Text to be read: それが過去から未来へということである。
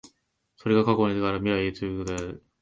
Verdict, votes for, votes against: rejected, 1, 2